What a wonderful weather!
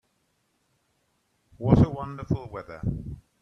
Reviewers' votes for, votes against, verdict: 2, 0, accepted